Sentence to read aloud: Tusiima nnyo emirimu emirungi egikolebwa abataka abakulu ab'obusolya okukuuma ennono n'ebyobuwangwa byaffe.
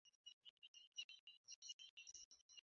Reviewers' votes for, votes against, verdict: 0, 2, rejected